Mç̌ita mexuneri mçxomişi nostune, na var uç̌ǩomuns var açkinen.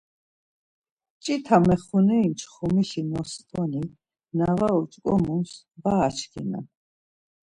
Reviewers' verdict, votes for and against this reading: accepted, 2, 0